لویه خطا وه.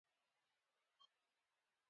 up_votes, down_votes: 2, 1